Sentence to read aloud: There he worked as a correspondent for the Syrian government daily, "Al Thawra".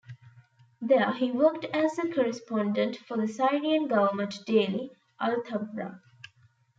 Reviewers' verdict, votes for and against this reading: accepted, 3, 2